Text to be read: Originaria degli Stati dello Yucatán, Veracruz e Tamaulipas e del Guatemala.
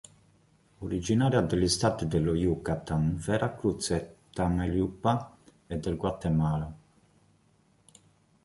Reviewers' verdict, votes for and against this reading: rejected, 0, 2